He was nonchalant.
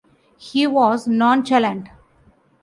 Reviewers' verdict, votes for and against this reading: accepted, 2, 0